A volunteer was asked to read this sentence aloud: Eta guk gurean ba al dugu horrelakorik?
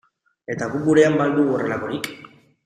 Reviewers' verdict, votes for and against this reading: accepted, 2, 0